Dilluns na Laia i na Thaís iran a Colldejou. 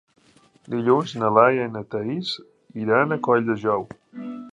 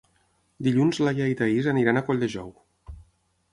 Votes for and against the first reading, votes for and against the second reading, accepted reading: 3, 0, 3, 6, first